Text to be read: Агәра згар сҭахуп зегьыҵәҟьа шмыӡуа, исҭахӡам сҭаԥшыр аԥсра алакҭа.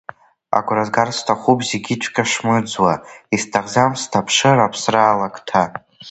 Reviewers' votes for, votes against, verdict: 0, 2, rejected